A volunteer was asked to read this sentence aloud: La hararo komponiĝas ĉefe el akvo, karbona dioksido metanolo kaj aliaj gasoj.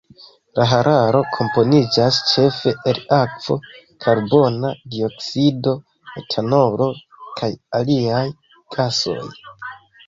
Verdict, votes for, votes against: accepted, 2, 0